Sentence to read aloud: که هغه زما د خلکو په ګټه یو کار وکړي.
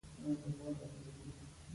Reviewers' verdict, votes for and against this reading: rejected, 0, 2